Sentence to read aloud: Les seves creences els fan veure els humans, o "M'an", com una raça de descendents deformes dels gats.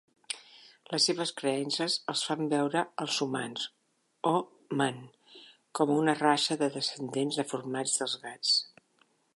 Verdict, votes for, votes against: rejected, 1, 2